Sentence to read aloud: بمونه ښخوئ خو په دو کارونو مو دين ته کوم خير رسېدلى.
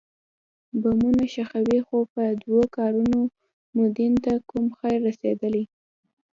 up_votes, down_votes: 2, 0